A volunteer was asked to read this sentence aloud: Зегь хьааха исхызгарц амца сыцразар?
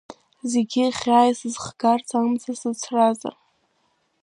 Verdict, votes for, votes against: rejected, 1, 2